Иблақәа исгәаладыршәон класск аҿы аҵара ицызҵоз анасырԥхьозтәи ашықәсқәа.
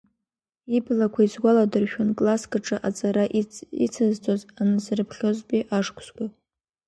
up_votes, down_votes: 0, 2